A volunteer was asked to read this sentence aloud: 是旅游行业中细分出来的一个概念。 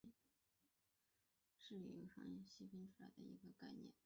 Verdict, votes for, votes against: rejected, 0, 2